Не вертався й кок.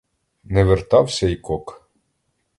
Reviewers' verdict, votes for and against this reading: accepted, 2, 0